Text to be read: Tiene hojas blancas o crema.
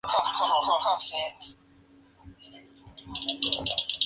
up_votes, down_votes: 0, 2